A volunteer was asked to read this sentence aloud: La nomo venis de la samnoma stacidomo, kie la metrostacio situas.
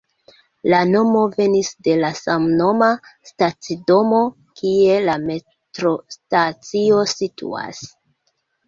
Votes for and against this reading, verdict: 2, 1, accepted